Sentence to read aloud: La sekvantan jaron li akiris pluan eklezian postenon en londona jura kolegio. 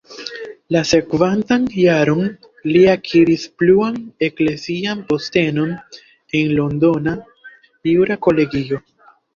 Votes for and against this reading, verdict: 2, 1, accepted